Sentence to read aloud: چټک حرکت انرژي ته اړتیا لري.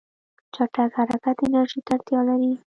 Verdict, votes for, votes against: rejected, 1, 2